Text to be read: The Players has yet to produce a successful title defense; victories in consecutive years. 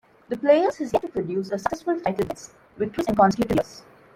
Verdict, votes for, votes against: rejected, 0, 2